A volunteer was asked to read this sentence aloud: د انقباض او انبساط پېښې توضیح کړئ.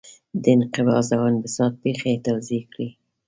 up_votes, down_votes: 2, 0